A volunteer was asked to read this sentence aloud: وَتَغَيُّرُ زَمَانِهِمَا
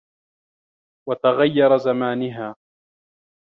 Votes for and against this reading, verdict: 0, 2, rejected